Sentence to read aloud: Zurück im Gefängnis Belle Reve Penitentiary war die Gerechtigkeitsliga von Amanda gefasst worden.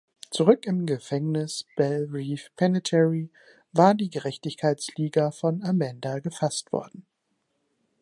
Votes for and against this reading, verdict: 0, 3, rejected